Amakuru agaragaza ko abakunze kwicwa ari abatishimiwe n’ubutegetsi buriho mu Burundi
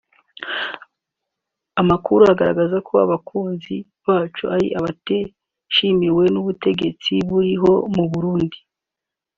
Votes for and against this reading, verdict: 1, 2, rejected